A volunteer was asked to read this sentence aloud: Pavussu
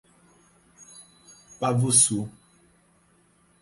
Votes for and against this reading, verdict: 4, 0, accepted